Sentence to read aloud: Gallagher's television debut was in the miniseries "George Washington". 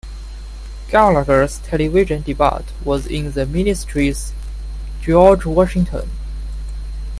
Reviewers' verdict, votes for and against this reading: rejected, 1, 2